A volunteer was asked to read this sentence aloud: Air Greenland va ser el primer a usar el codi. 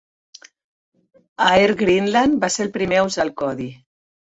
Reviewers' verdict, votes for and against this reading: rejected, 1, 2